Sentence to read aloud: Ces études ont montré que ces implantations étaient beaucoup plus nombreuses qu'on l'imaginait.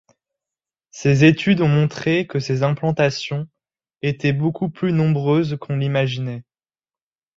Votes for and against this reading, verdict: 2, 0, accepted